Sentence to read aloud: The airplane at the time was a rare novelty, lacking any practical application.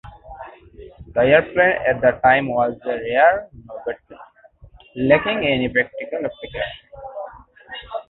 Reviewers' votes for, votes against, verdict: 1, 2, rejected